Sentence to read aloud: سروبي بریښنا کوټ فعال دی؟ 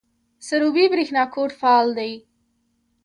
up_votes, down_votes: 0, 2